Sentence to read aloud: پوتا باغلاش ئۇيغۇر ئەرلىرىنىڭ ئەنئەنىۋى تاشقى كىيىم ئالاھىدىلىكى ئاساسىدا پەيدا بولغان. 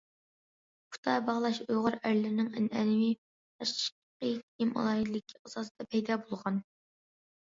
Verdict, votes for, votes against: rejected, 0, 2